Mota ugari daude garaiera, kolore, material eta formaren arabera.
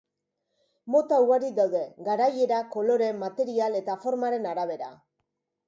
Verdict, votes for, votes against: accepted, 2, 0